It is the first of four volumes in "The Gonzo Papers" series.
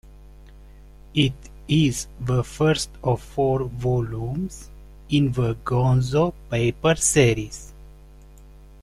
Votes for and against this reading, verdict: 2, 0, accepted